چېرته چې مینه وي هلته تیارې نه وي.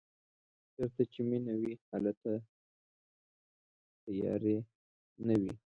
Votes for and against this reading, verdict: 0, 2, rejected